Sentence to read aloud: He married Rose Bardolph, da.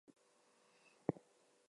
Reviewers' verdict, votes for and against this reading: rejected, 0, 2